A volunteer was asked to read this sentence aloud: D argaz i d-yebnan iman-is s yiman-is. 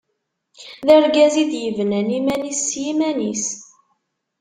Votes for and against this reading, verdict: 2, 1, accepted